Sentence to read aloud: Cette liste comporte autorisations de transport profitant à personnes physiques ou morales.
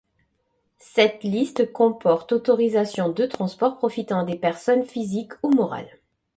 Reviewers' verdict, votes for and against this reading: rejected, 0, 2